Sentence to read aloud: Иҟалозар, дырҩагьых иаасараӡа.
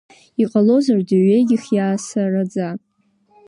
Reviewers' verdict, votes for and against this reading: accepted, 3, 0